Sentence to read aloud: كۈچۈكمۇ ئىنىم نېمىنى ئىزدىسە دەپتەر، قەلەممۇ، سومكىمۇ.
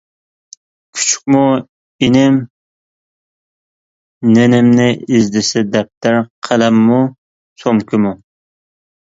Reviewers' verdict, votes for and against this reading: rejected, 0, 2